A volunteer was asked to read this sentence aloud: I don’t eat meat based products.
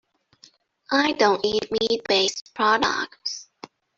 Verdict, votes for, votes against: rejected, 1, 2